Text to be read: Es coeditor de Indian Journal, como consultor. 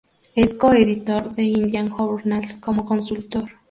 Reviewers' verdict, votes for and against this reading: accepted, 4, 2